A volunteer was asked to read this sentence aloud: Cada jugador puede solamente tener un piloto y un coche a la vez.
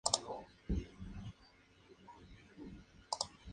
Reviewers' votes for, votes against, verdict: 0, 4, rejected